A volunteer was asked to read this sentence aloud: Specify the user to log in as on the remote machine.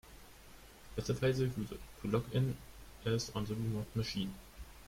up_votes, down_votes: 2, 1